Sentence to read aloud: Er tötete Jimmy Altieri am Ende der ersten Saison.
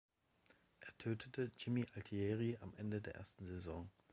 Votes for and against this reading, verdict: 2, 0, accepted